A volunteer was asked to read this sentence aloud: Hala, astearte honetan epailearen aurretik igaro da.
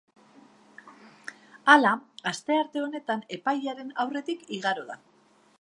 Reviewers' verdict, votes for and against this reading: accepted, 2, 0